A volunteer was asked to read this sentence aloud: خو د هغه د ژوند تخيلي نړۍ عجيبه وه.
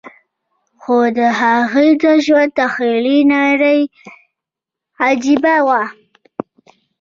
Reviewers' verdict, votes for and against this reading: accepted, 2, 1